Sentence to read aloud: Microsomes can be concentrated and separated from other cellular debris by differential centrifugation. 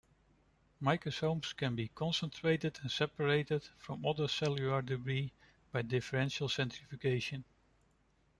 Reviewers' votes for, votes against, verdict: 2, 0, accepted